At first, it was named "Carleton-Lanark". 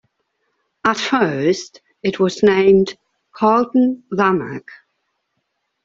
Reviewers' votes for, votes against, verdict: 2, 1, accepted